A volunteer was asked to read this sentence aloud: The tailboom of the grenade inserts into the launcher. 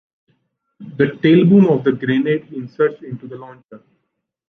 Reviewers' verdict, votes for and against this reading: accepted, 2, 0